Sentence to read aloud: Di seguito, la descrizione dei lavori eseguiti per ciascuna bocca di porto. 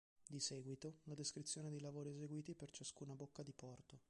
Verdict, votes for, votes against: rejected, 1, 2